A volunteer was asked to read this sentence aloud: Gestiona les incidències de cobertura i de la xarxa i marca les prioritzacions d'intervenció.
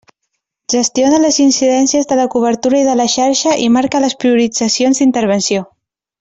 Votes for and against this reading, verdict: 0, 2, rejected